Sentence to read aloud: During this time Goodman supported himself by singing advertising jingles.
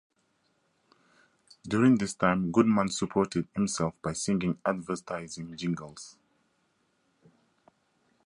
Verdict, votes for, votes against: rejected, 0, 2